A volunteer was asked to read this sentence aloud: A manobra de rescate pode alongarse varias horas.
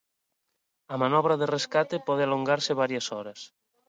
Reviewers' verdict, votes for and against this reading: rejected, 0, 2